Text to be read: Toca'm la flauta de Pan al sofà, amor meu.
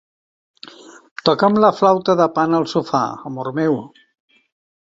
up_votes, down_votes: 2, 0